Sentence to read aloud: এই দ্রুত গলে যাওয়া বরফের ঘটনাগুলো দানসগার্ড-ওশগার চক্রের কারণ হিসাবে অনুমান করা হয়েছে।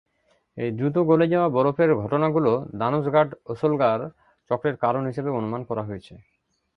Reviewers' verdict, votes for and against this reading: rejected, 0, 2